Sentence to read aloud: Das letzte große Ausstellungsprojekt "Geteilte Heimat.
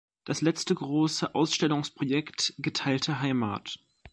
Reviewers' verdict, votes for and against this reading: accepted, 2, 0